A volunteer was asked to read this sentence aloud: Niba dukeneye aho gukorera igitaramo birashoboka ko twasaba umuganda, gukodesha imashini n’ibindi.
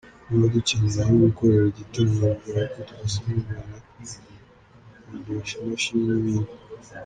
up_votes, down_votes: 1, 2